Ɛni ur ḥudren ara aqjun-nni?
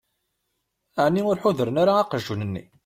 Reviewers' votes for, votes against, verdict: 2, 0, accepted